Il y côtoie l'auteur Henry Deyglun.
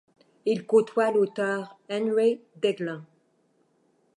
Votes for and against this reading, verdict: 1, 2, rejected